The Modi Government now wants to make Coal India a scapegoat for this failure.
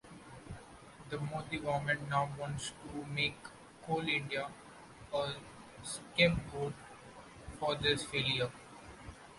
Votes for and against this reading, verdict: 1, 2, rejected